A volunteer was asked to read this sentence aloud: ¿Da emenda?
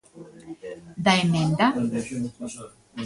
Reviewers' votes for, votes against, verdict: 1, 2, rejected